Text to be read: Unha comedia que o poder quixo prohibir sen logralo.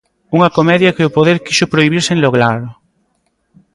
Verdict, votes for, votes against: accepted, 2, 0